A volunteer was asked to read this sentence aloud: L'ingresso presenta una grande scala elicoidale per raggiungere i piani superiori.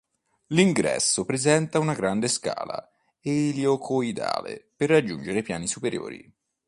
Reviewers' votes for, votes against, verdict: 2, 0, accepted